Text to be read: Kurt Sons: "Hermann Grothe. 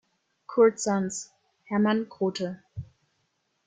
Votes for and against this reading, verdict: 1, 2, rejected